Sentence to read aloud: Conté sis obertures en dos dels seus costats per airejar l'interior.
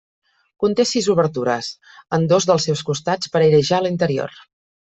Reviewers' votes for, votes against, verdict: 2, 0, accepted